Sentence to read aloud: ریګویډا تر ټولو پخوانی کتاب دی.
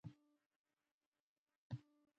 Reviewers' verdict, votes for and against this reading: rejected, 0, 2